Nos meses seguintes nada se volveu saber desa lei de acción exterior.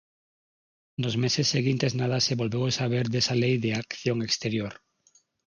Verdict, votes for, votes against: rejected, 3, 6